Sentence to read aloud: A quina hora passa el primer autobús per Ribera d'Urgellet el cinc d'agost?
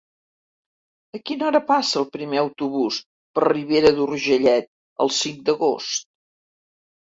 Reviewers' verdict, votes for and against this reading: accepted, 2, 0